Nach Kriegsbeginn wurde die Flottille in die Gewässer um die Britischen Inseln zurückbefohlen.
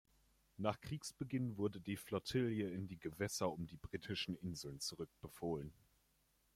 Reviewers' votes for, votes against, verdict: 2, 0, accepted